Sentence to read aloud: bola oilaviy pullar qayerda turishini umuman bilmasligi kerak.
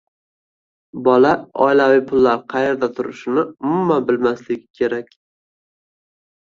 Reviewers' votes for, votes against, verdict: 2, 1, accepted